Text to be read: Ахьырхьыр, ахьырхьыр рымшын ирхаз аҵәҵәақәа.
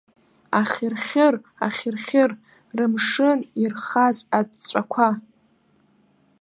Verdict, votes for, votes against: rejected, 1, 2